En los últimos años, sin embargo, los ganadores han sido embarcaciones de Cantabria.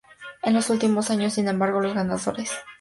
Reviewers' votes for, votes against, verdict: 0, 2, rejected